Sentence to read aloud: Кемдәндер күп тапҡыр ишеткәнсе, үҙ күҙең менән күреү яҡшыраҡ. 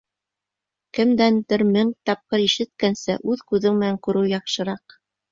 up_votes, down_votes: 0, 2